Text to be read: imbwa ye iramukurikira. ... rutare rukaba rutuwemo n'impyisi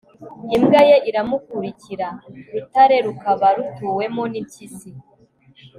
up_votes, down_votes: 3, 1